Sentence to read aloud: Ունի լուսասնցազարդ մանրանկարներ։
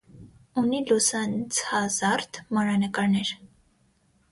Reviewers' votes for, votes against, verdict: 3, 6, rejected